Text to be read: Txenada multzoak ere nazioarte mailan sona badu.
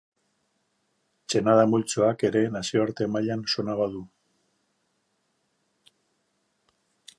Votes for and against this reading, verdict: 6, 0, accepted